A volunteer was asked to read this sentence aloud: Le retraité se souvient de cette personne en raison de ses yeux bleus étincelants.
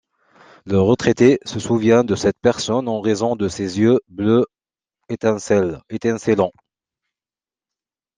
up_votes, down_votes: 0, 2